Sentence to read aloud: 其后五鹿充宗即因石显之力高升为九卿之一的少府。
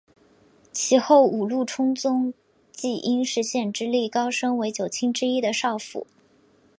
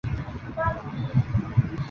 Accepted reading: first